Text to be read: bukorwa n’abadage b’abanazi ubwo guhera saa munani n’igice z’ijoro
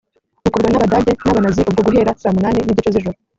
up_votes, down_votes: 2, 0